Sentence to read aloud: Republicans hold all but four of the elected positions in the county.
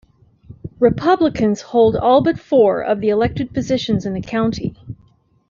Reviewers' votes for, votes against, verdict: 2, 0, accepted